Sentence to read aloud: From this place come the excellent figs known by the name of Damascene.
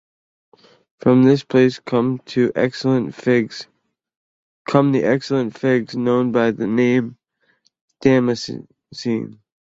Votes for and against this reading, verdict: 0, 2, rejected